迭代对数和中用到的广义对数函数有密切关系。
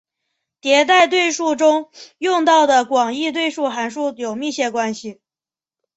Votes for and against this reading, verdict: 4, 0, accepted